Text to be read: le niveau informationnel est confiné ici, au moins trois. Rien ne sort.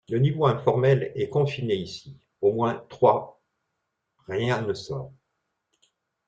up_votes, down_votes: 0, 2